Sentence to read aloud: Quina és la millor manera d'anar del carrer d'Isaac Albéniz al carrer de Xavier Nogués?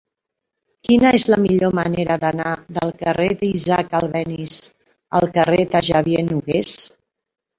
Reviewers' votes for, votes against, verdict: 1, 2, rejected